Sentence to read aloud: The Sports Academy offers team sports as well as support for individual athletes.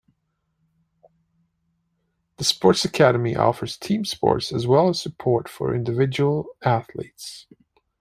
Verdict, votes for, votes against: accepted, 2, 0